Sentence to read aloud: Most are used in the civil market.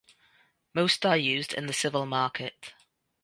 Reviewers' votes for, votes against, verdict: 2, 0, accepted